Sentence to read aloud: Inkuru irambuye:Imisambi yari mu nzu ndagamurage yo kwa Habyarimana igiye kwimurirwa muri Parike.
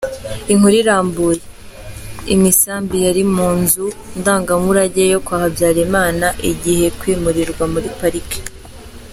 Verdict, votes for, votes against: accepted, 3, 0